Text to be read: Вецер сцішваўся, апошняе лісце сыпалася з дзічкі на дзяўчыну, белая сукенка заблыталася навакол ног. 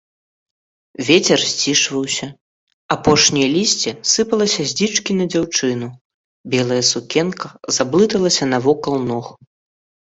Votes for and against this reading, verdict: 0, 2, rejected